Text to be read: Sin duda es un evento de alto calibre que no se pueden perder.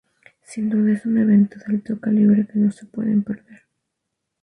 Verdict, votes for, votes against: accepted, 2, 0